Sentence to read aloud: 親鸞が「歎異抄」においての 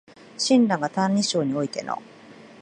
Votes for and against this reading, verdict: 0, 2, rejected